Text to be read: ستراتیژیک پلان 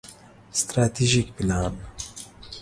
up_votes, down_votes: 2, 0